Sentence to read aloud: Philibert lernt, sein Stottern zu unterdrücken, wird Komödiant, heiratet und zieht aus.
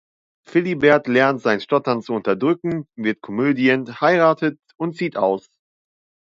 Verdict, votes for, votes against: rejected, 0, 2